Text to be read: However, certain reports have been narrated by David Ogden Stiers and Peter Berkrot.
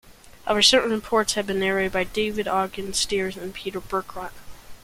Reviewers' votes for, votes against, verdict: 2, 0, accepted